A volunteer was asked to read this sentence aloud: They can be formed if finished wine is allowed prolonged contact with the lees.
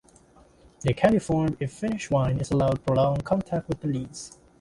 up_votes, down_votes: 2, 1